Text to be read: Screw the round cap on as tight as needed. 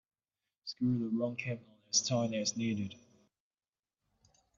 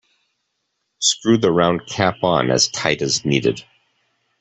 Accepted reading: second